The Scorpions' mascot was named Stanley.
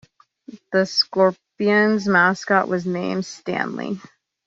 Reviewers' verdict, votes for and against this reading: accepted, 2, 0